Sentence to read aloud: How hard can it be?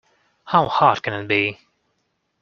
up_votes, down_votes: 1, 2